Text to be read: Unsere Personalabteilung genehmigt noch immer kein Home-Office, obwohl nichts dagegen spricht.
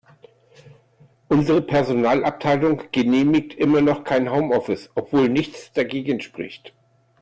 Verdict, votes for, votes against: rejected, 1, 2